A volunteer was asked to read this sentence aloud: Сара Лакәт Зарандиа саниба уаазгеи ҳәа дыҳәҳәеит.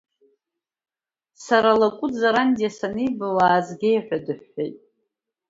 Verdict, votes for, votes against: accepted, 2, 1